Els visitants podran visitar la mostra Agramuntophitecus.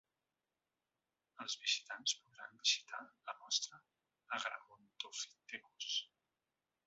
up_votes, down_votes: 0, 2